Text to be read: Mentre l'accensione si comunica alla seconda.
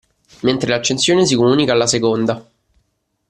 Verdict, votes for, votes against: accepted, 2, 0